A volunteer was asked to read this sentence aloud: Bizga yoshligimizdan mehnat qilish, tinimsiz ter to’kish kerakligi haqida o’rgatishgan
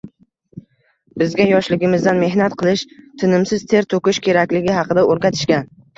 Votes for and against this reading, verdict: 1, 2, rejected